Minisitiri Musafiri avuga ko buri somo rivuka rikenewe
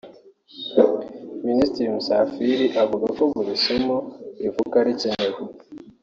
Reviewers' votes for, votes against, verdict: 0, 2, rejected